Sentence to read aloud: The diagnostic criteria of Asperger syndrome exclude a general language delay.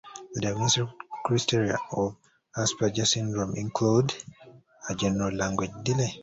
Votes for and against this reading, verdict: 1, 2, rejected